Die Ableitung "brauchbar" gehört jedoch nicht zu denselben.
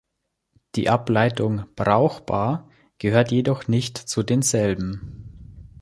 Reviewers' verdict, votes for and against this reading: accepted, 3, 0